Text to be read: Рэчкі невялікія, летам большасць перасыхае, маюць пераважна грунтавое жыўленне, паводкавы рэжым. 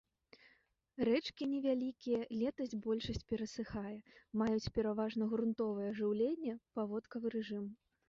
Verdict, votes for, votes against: rejected, 1, 2